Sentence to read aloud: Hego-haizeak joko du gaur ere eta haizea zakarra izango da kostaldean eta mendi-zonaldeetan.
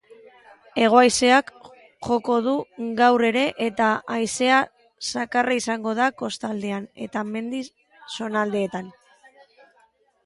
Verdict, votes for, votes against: rejected, 0, 2